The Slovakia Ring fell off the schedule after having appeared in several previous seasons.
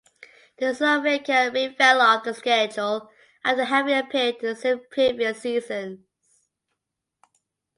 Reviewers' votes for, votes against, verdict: 2, 1, accepted